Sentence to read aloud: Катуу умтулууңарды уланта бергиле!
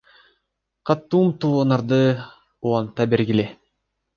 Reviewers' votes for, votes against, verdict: 2, 1, accepted